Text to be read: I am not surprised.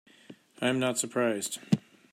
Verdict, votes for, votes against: accepted, 2, 0